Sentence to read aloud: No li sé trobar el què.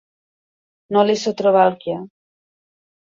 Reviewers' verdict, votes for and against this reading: accepted, 2, 0